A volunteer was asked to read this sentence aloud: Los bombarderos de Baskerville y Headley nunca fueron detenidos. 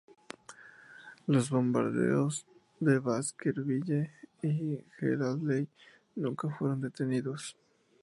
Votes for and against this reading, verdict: 2, 0, accepted